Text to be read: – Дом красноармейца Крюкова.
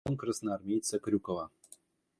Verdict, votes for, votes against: rejected, 0, 2